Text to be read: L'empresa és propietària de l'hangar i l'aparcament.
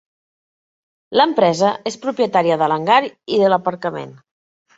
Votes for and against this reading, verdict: 0, 2, rejected